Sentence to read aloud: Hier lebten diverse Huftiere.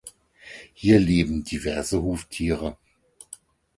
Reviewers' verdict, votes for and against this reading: rejected, 0, 4